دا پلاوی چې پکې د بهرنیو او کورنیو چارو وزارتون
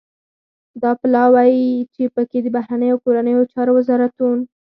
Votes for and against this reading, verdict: 2, 4, rejected